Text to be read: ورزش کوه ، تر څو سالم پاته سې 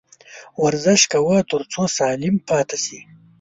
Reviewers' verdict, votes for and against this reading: accepted, 2, 0